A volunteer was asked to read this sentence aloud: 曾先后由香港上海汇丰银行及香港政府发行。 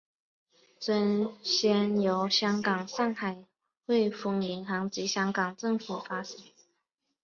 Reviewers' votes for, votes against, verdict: 3, 0, accepted